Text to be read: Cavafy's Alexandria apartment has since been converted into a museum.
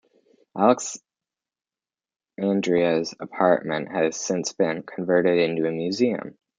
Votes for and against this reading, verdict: 0, 2, rejected